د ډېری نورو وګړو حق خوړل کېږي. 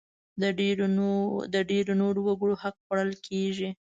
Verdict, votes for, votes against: accepted, 2, 0